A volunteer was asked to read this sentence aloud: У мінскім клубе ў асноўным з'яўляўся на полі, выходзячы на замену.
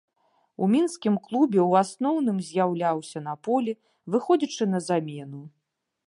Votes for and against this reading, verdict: 2, 0, accepted